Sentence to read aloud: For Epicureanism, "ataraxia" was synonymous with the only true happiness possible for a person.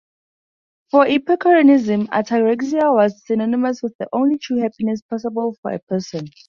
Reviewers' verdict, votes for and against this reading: accepted, 2, 0